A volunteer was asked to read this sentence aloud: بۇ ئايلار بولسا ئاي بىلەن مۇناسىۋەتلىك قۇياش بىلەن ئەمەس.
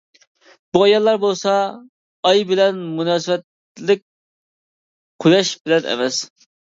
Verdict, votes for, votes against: rejected, 0, 2